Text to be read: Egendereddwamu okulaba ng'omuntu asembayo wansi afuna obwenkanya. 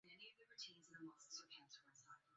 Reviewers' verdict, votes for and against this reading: rejected, 0, 2